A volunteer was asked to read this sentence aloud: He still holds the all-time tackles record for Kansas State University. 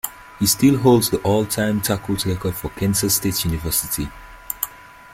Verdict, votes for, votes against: rejected, 1, 2